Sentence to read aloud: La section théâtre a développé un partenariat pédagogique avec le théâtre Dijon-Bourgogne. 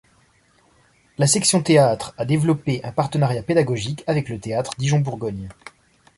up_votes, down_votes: 3, 0